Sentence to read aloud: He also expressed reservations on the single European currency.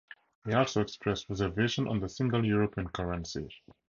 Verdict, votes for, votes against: accepted, 4, 0